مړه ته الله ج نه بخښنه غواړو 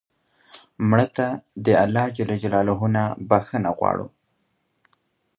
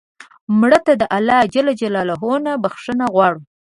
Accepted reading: first